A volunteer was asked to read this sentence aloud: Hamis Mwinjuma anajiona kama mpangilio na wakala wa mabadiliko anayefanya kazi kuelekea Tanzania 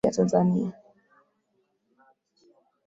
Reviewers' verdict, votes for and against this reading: rejected, 0, 6